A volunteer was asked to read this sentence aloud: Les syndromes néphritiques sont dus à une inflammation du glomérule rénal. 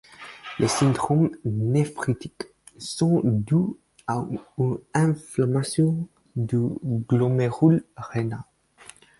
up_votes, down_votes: 0, 4